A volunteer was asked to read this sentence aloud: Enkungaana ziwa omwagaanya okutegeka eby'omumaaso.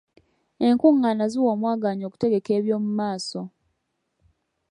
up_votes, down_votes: 4, 0